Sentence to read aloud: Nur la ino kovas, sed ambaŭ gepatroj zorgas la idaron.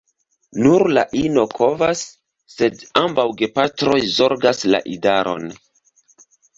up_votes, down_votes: 2, 0